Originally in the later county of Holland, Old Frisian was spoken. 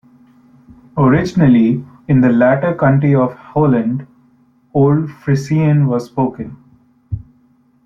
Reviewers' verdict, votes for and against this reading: rejected, 0, 2